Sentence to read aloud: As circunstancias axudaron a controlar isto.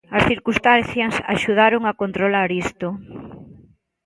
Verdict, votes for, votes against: rejected, 1, 2